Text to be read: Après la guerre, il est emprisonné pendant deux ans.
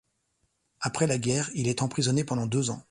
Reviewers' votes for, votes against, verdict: 2, 0, accepted